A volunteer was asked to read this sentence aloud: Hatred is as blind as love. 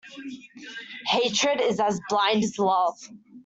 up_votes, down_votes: 2, 1